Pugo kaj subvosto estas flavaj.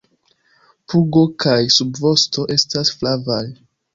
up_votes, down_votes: 2, 0